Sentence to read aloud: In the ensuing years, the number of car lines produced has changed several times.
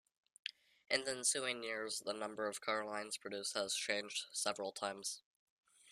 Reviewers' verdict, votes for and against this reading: accepted, 2, 0